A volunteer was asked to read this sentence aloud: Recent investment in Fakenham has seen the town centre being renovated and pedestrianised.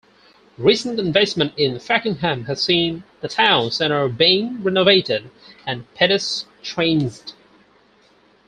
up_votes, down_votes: 4, 2